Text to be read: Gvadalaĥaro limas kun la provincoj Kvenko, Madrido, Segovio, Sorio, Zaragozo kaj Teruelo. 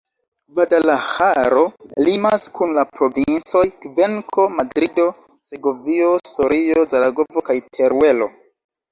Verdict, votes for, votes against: rejected, 0, 2